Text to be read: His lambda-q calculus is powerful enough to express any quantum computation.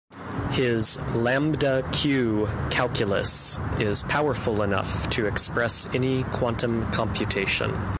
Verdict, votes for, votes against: accepted, 2, 0